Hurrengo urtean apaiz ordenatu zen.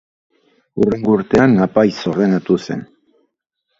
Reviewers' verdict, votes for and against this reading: accepted, 2, 0